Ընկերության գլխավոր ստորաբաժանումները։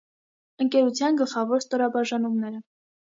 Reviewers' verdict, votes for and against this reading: accepted, 2, 0